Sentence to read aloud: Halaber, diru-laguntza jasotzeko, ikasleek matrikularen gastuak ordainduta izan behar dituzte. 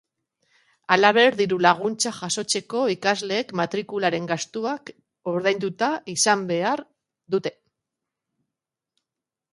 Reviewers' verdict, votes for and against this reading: rejected, 1, 4